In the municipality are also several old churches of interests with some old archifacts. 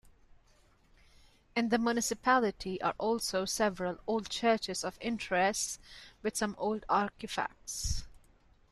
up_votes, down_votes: 2, 3